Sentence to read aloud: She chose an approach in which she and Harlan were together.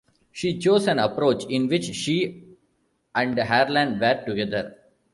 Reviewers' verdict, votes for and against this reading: rejected, 1, 2